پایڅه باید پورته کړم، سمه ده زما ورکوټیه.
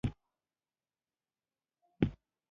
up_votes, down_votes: 0, 2